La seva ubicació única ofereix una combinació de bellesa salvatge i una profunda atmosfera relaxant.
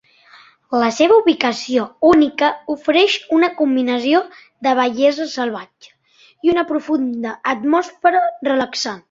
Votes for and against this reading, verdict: 1, 3, rejected